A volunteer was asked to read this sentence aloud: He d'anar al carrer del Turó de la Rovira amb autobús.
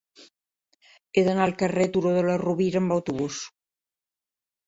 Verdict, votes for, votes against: rejected, 1, 2